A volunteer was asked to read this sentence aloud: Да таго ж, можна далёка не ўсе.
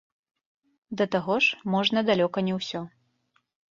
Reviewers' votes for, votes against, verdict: 2, 0, accepted